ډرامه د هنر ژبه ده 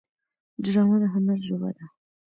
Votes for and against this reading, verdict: 1, 2, rejected